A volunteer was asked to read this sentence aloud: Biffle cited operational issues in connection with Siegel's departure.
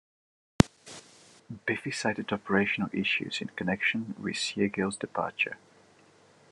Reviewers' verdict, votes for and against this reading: rejected, 0, 2